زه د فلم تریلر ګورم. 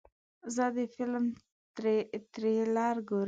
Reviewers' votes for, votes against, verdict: 1, 2, rejected